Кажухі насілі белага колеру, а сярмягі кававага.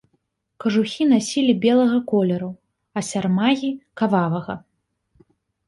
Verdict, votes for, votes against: rejected, 0, 2